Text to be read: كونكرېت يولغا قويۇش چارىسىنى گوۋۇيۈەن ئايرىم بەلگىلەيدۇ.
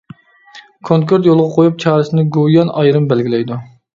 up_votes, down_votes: 1, 2